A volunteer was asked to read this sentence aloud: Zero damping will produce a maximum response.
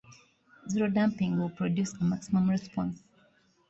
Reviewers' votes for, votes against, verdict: 2, 0, accepted